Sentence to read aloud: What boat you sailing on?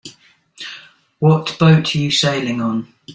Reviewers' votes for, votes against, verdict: 2, 0, accepted